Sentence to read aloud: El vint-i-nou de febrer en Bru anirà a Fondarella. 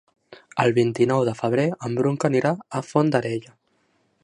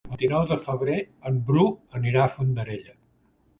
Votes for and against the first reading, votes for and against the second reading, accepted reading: 1, 2, 2, 0, second